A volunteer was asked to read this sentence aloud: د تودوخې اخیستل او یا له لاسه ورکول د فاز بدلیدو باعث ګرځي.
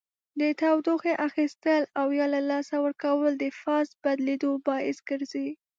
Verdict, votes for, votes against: accepted, 2, 0